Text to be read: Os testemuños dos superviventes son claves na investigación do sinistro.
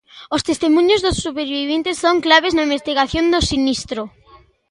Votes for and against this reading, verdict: 1, 2, rejected